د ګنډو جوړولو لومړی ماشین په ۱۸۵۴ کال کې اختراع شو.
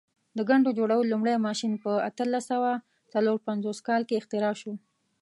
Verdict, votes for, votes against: rejected, 0, 2